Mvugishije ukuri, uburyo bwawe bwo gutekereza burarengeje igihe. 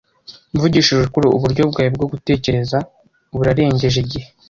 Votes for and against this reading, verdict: 2, 0, accepted